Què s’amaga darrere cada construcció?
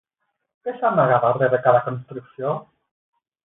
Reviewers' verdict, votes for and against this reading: accepted, 8, 0